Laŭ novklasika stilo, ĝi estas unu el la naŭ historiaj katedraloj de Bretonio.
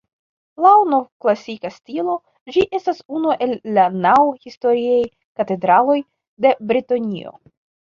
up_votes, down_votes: 2, 1